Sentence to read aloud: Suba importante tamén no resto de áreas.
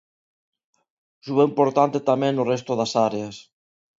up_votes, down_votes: 1, 2